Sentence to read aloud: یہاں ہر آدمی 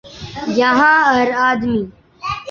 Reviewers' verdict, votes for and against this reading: accepted, 2, 0